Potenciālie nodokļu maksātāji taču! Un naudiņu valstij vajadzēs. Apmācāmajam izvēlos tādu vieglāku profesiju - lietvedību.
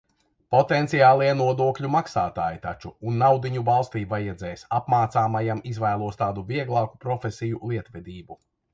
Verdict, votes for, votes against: accepted, 2, 1